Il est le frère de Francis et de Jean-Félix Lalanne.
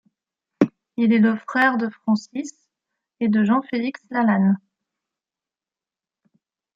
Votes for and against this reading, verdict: 2, 0, accepted